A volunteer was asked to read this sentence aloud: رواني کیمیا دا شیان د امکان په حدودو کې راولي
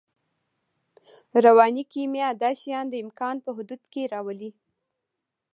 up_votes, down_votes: 2, 1